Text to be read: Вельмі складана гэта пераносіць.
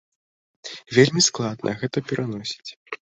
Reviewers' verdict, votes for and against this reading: rejected, 0, 2